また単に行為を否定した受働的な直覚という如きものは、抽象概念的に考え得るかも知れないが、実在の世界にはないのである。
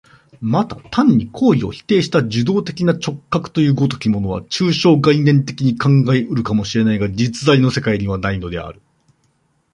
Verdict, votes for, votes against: accepted, 2, 0